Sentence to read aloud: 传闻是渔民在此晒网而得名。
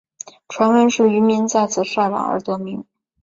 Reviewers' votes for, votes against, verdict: 5, 0, accepted